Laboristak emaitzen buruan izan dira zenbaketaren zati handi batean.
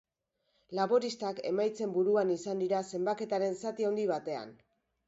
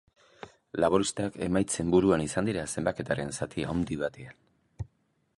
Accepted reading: second